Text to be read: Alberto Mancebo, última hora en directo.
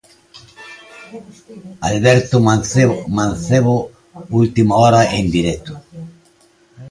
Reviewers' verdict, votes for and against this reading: rejected, 0, 2